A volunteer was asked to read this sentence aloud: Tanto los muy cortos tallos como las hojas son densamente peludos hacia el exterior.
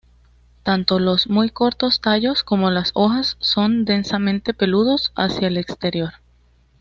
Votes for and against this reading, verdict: 2, 0, accepted